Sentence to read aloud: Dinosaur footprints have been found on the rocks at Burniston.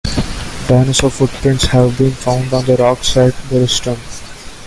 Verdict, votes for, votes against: rejected, 0, 2